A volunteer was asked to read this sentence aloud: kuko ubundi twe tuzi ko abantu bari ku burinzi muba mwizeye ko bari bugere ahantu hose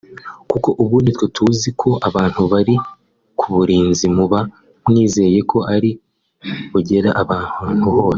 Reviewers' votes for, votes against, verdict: 1, 2, rejected